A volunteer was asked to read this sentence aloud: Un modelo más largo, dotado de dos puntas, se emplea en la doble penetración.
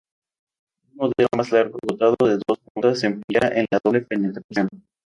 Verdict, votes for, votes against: rejected, 0, 2